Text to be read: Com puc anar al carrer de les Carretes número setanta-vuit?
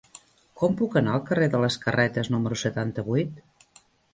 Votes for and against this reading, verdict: 3, 0, accepted